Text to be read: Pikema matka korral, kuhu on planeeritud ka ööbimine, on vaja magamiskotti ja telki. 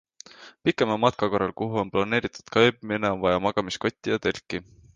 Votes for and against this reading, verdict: 3, 0, accepted